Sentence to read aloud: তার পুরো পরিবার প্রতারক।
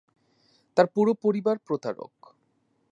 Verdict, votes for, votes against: accepted, 2, 0